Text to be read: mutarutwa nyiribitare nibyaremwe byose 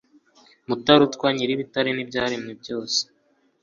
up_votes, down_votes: 2, 0